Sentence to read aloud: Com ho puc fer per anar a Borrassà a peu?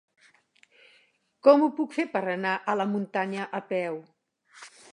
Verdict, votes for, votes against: rejected, 0, 2